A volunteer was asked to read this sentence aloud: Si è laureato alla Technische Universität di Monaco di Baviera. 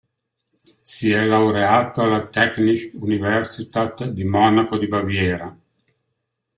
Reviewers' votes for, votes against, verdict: 1, 2, rejected